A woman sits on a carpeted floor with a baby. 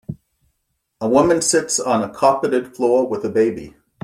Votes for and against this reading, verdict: 2, 0, accepted